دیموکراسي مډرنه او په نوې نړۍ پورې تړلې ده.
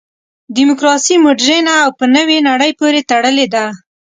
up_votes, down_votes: 2, 0